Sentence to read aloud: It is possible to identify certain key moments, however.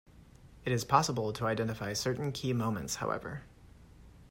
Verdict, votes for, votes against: accepted, 2, 0